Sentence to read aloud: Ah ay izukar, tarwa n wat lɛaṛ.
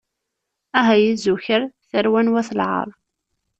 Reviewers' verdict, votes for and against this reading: accepted, 2, 0